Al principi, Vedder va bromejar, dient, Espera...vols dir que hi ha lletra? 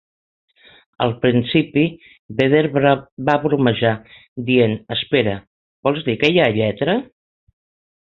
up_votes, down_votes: 0, 4